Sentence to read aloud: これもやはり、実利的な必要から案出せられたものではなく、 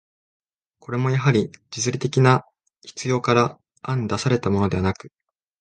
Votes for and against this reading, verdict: 3, 4, rejected